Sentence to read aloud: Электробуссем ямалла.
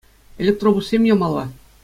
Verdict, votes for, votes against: accepted, 2, 0